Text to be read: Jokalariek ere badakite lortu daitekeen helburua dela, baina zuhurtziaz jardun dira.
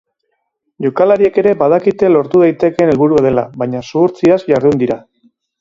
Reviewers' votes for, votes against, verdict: 2, 0, accepted